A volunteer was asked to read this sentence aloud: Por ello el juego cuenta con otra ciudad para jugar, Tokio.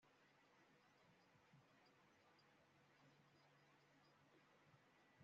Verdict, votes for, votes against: rejected, 1, 2